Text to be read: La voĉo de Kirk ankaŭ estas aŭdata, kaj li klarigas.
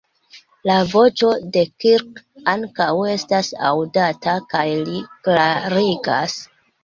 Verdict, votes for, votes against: accepted, 3, 1